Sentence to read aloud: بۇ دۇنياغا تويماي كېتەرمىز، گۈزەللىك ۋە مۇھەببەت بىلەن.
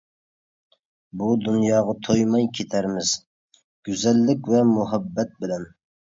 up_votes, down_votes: 2, 0